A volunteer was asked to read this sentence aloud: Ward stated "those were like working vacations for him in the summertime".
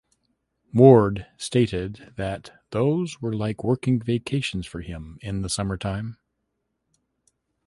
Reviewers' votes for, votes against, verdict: 1, 2, rejected